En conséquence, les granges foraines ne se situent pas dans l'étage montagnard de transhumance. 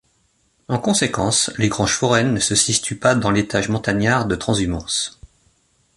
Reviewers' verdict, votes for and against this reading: rejected, 0, 2